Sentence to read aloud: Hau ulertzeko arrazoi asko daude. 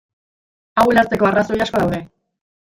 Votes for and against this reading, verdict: 1, 2, rejected